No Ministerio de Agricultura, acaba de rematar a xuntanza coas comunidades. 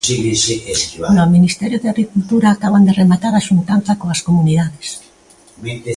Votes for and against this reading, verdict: 0, 2, rejected